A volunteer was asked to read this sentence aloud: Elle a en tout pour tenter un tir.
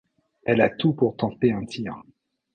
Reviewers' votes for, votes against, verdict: 0, 3, rejected